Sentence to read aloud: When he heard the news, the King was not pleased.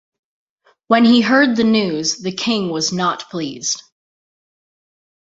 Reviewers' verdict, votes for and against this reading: accepted, 2, 0